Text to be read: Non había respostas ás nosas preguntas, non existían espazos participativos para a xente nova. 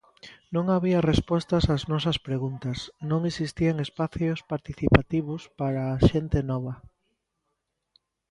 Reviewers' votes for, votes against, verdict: 0, 2, rejected